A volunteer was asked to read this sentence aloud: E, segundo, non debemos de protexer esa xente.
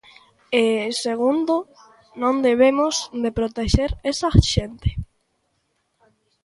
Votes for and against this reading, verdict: 2, 0, accepted